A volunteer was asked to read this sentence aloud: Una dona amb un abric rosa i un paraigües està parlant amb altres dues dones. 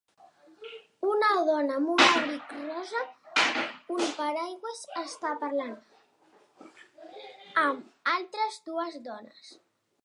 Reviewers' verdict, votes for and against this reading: rejected, 1, 2